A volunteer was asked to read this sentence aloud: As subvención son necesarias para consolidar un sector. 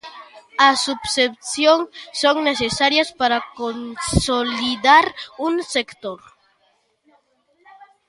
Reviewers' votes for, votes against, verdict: 0, 2, rejected